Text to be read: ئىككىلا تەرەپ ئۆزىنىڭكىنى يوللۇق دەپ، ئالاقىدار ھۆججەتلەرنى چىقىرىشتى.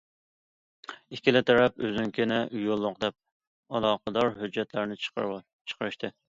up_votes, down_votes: 1, 2